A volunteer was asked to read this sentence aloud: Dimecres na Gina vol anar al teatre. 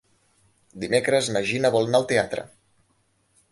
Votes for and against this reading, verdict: 1, 2, rejected